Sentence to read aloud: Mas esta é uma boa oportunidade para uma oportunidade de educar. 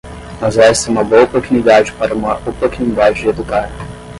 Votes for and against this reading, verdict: 0, 5, rejected